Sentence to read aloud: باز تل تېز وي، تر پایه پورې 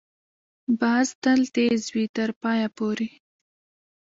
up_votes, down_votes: 1, 2